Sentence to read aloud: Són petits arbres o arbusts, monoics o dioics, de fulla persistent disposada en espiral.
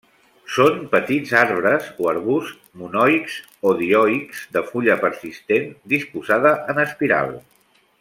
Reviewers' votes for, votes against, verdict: 1, 2, rejected